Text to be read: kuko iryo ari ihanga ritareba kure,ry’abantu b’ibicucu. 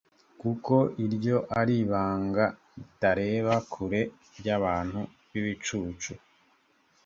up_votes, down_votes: 1, 2